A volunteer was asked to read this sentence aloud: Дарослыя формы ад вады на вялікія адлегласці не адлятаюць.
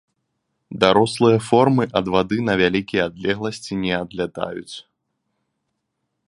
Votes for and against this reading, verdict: 2, 0, accepted